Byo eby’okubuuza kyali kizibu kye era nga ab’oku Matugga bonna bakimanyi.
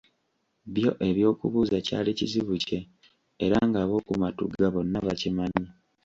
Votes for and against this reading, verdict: 2, 0, accepted